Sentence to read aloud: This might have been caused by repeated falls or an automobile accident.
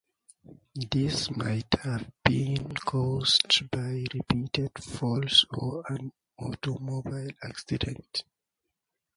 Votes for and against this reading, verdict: 0, 2, rejected